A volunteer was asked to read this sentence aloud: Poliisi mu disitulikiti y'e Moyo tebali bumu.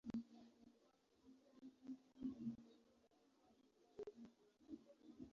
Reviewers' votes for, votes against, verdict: 0, 2, rejected